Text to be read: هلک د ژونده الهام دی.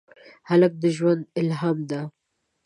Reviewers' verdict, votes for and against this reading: accepted, 2, 0